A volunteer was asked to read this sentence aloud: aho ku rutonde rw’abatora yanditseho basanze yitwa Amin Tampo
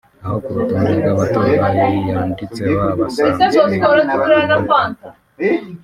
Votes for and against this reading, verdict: 1, 2, rejected